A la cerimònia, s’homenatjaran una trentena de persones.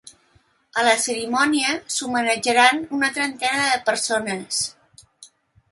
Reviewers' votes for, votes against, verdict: 2, 0, accepted